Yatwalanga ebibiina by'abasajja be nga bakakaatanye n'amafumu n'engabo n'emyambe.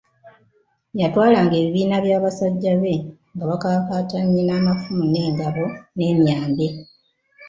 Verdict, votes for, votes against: accepted, 2, 0